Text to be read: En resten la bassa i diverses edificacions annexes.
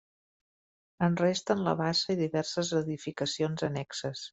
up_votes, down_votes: 1, 2